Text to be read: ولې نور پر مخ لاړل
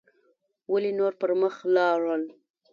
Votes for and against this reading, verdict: 2, 0, accepted